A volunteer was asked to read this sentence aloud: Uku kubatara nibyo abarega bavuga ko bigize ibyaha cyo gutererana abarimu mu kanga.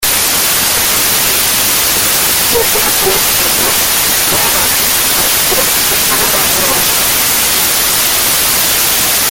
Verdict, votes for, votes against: rejected, 0, 2